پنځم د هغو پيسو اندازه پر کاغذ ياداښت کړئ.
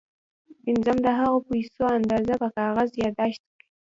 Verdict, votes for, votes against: rejected, 1, 2